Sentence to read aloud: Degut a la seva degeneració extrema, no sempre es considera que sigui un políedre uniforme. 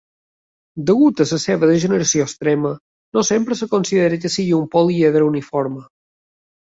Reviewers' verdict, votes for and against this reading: accepted, 2, 0